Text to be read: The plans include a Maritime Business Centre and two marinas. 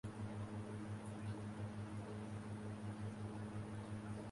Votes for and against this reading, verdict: 0, 2, rejected